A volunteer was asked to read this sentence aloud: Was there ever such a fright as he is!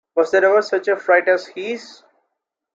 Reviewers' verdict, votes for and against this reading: accepted, 2, 1